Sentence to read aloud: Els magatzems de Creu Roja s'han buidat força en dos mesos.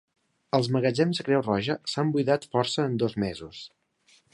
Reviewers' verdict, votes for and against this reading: accepted, 3, 1